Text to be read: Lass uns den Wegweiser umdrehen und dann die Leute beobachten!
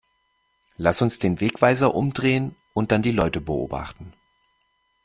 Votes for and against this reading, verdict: 3, 2, accepted